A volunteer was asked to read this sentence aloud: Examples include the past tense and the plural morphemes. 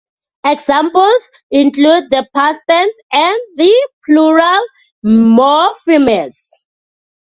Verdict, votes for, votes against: rejected, 0, 2